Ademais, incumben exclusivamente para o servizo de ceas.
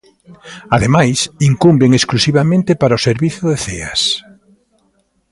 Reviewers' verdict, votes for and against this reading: accepted, 2, 0